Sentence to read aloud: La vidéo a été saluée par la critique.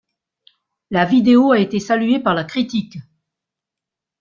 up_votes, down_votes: 2, 0